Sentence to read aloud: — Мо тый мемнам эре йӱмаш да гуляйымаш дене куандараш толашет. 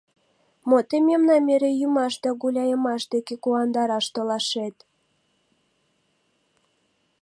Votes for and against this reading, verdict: 0, 2, rejected